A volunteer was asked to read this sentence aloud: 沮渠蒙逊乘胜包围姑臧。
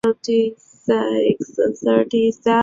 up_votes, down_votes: 0, 2